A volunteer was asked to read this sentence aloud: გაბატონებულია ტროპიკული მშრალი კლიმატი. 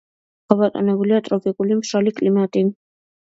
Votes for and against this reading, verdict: 2, 0, accepted